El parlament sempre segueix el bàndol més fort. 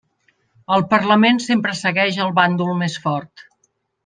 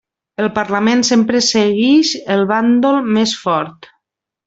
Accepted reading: first